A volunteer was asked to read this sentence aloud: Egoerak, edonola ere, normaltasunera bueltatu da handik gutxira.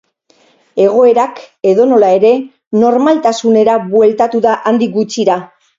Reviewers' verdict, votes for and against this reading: accepted, 2, 0